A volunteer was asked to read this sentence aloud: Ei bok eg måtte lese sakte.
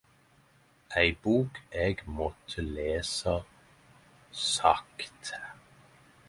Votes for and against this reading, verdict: 10, 5, accepted